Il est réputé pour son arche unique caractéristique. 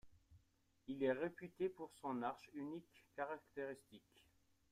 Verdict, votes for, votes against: accepted, 2, 0